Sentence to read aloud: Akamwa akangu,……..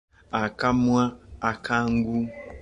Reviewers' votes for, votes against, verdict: 2, 0, accepted